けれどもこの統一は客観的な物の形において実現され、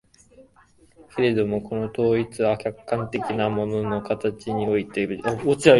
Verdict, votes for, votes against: rejected, 0, 2